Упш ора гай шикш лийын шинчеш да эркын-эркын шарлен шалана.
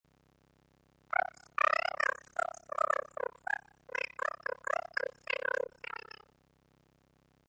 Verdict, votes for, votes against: rejected, 0, 2